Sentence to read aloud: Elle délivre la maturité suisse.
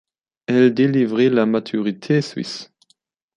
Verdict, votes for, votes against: rejected, 0, 2